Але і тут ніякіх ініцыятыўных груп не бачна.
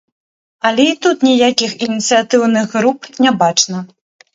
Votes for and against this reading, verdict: 2, 0, accepted